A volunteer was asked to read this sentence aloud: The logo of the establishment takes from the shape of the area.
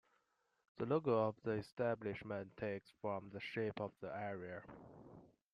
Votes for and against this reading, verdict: 2, 0, accepted